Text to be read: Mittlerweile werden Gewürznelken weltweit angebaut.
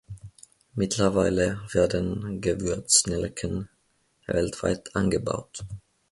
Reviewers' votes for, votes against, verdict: 2, 0, accepted